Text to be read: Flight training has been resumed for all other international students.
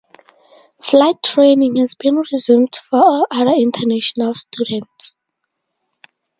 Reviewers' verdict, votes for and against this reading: accepted, 2, 0